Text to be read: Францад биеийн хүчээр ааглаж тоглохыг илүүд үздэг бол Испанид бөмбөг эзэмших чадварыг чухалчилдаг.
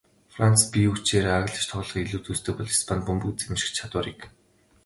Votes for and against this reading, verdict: 2, 0, accepted